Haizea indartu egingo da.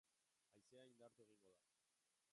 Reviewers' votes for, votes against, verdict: 0, 3, rejected